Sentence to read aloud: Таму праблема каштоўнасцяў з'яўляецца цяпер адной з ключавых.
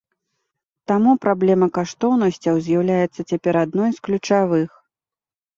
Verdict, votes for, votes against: accepted, 2, 0